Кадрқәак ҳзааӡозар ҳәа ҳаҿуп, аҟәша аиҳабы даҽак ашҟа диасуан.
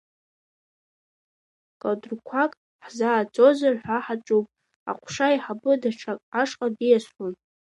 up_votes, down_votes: 2, 1